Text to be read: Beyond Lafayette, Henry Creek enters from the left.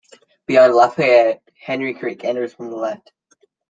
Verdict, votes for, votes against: rejected, 1, 3